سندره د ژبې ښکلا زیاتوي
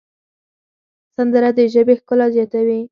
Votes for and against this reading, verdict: 4, 0, accepted